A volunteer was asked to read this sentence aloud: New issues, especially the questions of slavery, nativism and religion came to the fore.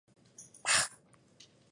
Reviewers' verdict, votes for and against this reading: rejected, 0, 2